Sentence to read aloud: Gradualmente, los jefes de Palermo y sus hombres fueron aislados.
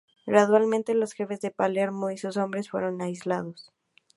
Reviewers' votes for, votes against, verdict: 2, 0, accepted